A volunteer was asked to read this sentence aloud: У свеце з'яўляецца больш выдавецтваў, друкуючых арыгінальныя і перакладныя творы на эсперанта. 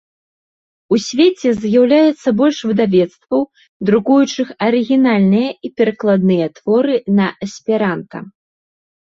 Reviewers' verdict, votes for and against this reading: accepted, 2, 0